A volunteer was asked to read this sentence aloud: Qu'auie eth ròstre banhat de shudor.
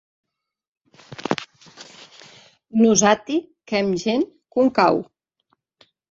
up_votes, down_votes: 0, 2